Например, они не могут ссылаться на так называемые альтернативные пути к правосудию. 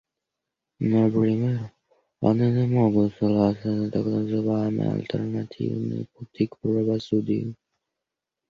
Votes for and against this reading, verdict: 1, 2, rejected